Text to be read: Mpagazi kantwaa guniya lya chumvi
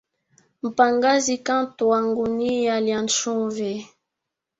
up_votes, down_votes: 1, 2